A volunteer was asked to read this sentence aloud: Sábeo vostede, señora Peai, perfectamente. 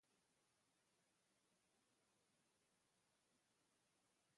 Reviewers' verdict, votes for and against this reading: rejected, 0, 2